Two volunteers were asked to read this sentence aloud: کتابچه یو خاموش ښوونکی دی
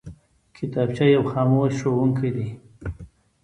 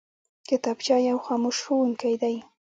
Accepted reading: first